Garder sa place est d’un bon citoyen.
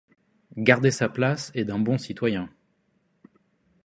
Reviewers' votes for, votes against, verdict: 2, 0, accepted